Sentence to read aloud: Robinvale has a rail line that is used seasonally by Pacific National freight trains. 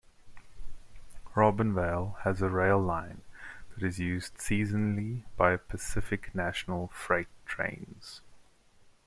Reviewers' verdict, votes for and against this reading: accepted, 2, 0